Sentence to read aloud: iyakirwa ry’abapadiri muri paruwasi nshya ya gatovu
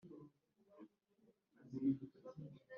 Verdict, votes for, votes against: rejected, 1, 2